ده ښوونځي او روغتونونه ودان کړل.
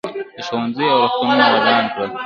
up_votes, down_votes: 3, 0